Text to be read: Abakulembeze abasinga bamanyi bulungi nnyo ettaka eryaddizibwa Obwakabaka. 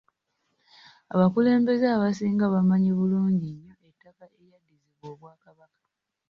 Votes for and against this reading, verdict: 1, 2, rejected